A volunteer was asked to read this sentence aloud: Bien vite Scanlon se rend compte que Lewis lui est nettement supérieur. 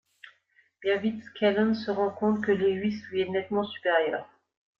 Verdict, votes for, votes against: accepted, 2, 1